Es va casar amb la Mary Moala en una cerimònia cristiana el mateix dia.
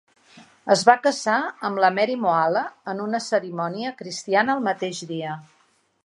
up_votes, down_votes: 3, 0